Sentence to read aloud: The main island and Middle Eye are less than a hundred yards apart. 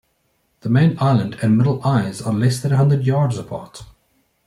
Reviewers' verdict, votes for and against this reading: rejected, 0, 2